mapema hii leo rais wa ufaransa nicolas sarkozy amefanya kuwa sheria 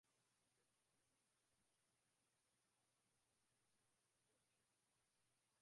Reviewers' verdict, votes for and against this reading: rejected, 0, 2